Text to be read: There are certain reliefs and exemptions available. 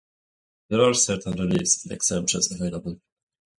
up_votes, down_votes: 2, 2